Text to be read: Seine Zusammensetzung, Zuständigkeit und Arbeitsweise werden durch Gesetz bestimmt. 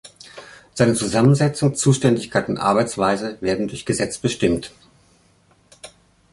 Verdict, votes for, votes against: accepted, 3, 0